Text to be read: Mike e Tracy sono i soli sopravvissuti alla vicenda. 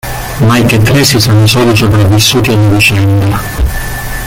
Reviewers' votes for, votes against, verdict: 0, 2, rejected